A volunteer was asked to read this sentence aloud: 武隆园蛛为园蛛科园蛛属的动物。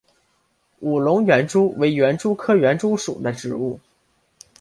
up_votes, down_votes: 0, 2